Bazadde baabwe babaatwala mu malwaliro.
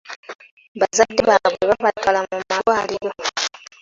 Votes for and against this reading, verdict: 2, 1, accepted